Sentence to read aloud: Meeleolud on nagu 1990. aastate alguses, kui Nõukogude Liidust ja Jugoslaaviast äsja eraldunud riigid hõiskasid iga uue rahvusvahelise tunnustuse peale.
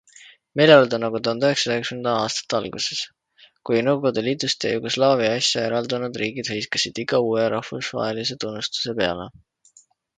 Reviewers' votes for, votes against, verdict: 0, 2, rejected